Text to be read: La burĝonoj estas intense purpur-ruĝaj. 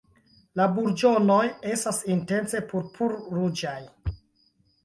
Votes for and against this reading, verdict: 2, 0, accepted